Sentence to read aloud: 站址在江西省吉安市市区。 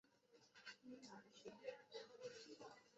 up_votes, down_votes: 0, 2